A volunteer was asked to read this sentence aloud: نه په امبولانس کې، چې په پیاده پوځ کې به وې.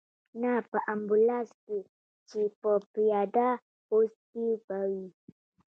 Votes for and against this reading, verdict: 0, 2, rejected